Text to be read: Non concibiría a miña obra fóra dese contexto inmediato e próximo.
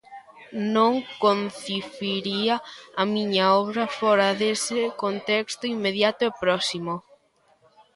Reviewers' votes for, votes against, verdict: 1, 2, rejected